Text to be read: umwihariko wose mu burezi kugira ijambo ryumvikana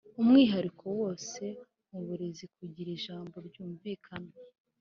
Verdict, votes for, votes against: accepted, 3, 0